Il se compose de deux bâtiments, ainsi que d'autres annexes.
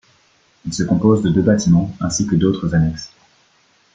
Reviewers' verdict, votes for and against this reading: accepted, 2, 0